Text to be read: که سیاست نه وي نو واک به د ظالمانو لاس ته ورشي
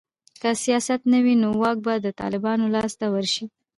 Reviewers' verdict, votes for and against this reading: rejected, 1, 2